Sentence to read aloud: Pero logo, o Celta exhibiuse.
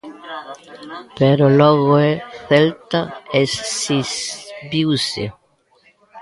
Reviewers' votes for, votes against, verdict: 0, 2, rejected